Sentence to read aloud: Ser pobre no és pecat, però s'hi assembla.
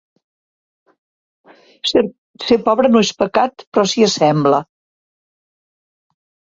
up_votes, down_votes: 0, 2